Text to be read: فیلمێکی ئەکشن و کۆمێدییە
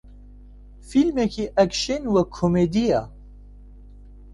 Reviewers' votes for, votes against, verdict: 1, 2, rejected